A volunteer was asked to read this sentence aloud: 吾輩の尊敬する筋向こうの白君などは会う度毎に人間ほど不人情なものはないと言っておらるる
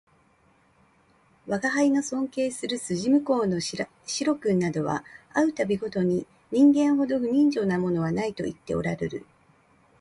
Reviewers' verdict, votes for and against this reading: rejected, 0, 2